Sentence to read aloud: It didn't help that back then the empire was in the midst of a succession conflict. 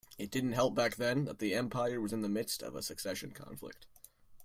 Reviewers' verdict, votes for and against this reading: accepted, 2, 1